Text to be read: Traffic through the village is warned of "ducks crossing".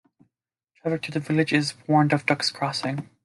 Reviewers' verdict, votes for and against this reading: accepted, 2, 0